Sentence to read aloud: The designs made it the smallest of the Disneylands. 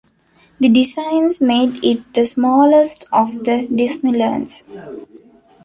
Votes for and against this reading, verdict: 2, 0, accepted